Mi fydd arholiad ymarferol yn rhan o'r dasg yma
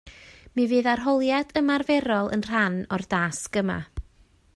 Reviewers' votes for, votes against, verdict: 2, 0, accepted